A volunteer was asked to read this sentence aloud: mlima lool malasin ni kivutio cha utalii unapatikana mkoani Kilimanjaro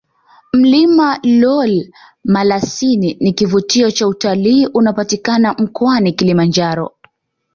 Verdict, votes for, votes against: accepted, 2, 1